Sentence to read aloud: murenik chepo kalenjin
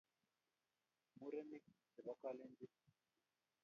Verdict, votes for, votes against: rejected, 0, 2